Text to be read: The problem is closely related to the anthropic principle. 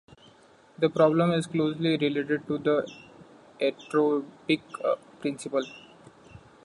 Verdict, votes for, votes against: rejected, 1, 2